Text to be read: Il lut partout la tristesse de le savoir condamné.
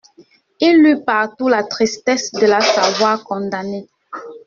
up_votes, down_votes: 1, 2